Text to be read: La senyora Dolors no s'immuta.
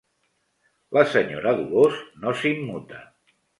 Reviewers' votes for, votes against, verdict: 3, 0, accepted